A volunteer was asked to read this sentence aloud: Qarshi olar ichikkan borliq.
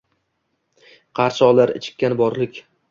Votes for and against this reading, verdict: 2, 0, accepted